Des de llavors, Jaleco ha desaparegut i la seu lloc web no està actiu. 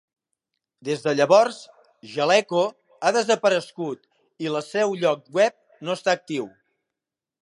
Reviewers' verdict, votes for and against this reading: rejected, 1, 2